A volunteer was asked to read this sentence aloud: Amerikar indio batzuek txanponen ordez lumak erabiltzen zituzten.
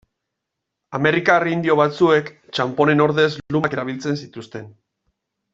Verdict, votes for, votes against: accepted, 2, 0